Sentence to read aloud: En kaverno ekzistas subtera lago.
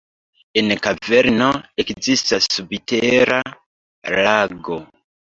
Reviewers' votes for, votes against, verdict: 1, 2, rejected